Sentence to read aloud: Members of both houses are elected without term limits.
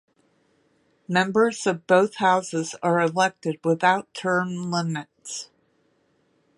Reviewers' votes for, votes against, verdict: 2, 0, accepted